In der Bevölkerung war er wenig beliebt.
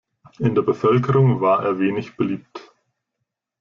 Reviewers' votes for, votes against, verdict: 2, 0, accepted